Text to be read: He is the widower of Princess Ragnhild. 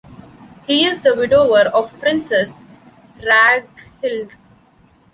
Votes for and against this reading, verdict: 1, 2, rejected